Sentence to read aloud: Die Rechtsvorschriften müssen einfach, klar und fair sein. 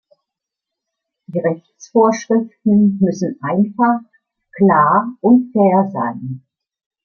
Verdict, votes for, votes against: rejected, 1, 2